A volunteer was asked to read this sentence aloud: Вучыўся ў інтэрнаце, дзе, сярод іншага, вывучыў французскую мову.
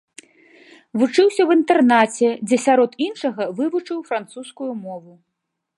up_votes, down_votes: 2, 0